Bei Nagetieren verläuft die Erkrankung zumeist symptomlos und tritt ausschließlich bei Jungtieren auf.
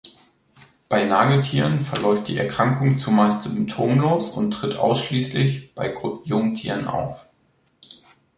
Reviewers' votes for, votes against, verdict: 1, 2, rejected